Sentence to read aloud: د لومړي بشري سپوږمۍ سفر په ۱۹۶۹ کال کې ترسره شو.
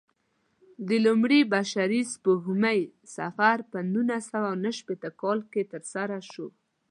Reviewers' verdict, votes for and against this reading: rejected, 0, 2